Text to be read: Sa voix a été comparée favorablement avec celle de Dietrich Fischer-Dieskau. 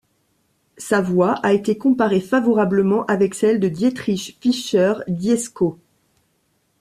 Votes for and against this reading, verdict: 2, 0, accepted